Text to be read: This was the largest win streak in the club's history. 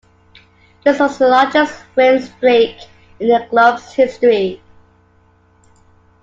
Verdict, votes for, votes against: accepted, 2, 1